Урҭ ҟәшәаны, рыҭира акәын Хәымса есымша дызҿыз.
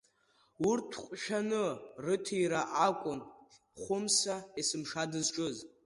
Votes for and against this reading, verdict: 2, 0, accepted